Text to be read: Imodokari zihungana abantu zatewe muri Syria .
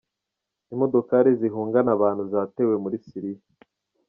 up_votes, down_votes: 2, 0